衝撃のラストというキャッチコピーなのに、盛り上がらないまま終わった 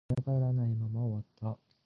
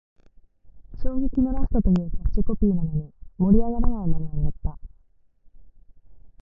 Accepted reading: second